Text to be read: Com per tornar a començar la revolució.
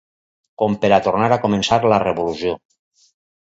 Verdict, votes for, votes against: rejected, 2, 4